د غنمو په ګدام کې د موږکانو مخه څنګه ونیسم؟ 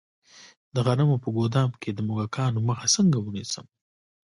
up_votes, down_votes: 0, 2